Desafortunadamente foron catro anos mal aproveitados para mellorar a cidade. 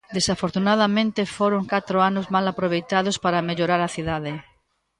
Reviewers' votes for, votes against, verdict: 2, 0, accepted